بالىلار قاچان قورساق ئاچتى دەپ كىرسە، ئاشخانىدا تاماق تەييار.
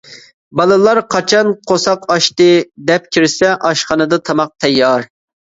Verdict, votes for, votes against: accepted, 2, 0